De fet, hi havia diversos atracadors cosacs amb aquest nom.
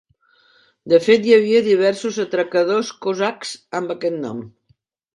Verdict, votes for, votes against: accepted, 5, 0